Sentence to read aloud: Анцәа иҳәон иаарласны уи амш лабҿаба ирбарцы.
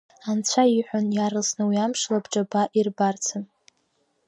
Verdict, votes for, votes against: accepted, 2, 0